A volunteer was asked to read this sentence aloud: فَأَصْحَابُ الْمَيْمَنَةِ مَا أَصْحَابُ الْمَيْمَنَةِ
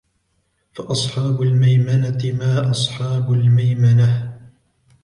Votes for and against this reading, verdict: 2, 1, accepted